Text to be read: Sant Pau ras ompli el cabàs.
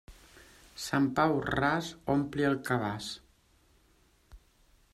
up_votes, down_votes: 2, 0